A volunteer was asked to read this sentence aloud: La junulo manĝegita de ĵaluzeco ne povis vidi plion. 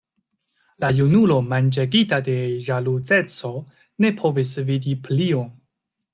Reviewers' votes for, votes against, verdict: 1, 2, rejected